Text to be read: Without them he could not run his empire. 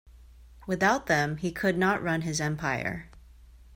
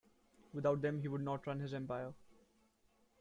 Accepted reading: first